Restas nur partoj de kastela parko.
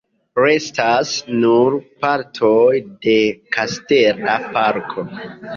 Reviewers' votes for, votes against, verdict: 1, 2, rejected